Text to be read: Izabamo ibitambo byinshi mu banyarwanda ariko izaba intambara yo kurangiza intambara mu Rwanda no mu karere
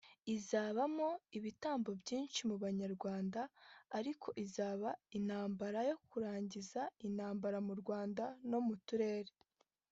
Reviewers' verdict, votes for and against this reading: rejected, 1, 2